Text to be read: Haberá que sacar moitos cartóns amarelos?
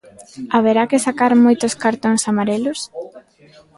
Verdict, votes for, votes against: accepted, 2, 1